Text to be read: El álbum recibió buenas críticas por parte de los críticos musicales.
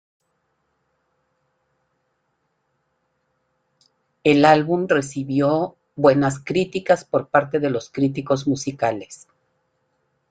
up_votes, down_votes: 1, 2